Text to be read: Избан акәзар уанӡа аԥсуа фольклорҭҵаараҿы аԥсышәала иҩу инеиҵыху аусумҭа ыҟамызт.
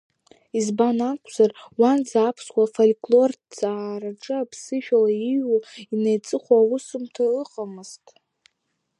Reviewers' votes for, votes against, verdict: 3, 0, accepted